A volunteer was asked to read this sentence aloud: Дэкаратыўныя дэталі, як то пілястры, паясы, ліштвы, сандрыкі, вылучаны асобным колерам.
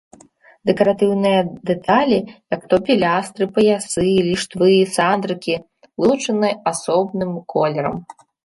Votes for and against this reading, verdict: 0, 2, rejected